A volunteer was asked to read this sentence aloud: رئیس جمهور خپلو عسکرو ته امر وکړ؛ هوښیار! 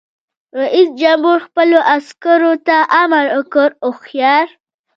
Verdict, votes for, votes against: rejected, 0, 2